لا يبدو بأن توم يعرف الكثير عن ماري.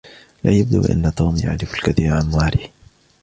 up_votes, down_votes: 2, 1